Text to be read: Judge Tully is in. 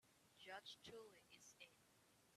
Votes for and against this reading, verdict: 1, 2, rejected